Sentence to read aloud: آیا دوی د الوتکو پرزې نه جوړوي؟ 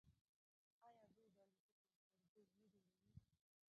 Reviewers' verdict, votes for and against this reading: rejected, 0, 2